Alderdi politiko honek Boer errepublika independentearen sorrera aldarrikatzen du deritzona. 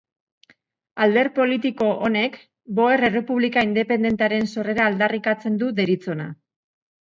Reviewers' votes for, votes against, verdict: 0, 2, rejected